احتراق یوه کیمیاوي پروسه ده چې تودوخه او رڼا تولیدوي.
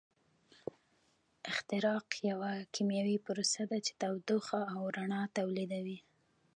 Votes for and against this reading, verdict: 2, 1, accepted